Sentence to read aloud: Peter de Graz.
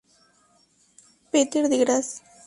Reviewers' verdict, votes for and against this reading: accepted, 2, 0